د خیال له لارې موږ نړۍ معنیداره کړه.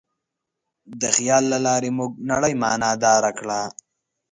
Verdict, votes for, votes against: accepted, 2, 0